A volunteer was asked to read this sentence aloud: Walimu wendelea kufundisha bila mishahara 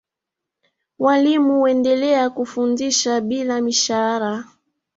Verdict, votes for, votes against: accepted, 3, 0